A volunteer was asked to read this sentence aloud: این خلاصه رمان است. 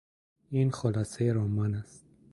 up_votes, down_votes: 2, 0